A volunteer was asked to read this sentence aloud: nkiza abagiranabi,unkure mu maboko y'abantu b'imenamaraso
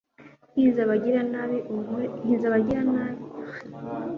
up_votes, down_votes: 1, 2